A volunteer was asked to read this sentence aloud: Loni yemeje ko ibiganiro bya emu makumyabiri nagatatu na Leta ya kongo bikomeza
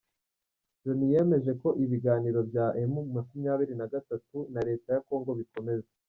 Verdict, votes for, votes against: rejected, 1, 2